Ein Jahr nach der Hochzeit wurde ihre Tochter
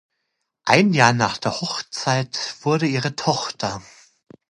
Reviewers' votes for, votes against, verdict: 2, 0, accepted